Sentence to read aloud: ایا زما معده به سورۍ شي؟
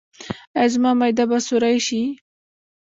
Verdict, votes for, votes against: rejected, 1, 2